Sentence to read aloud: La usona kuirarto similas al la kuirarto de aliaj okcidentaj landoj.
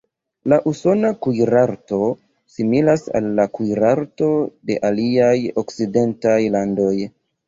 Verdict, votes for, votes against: rejected, 1, 2